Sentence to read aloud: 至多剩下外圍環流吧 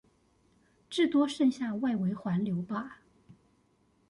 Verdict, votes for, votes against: accepted, 2, 0